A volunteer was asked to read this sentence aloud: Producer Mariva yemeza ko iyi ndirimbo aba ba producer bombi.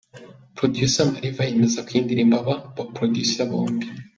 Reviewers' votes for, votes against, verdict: 2, 1, accepted